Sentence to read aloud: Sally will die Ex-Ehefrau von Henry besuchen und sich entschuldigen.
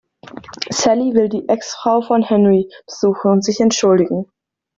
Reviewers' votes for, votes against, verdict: 1, 2, rejected